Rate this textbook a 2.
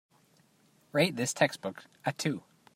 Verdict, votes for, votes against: rejected, 0, 2